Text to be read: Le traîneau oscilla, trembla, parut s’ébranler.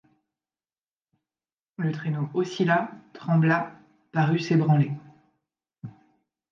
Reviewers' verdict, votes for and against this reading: rejected, 1, 2